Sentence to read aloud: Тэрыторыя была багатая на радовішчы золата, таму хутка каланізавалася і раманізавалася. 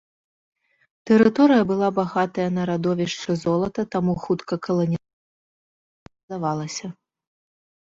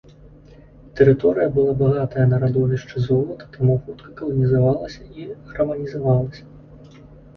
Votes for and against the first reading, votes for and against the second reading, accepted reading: 0, 2, 2, 0, second